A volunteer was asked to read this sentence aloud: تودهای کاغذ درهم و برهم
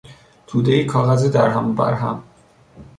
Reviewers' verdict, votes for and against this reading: accepted, 3, 0